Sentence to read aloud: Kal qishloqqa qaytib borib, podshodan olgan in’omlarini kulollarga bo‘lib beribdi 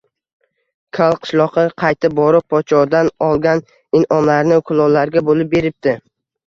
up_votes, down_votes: 1, 2